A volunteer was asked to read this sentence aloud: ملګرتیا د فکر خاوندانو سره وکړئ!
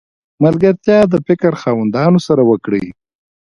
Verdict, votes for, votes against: rejected, 1, 2